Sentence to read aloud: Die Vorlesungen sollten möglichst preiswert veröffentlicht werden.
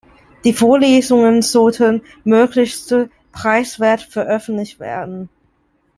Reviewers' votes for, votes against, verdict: 0, 2, rejected